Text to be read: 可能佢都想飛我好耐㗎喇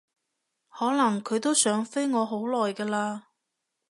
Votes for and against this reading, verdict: 2, 0, accepted